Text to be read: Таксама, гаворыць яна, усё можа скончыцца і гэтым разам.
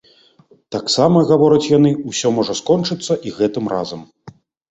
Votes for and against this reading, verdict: 1, 2, rejected